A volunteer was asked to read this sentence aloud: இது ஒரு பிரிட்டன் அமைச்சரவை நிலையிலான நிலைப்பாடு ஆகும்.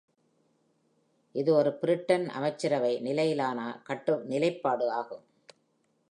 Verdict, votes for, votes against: rejected, 0, 2